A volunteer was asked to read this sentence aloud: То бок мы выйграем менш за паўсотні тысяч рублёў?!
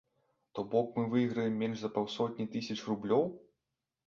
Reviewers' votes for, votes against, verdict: 2, 0, accepted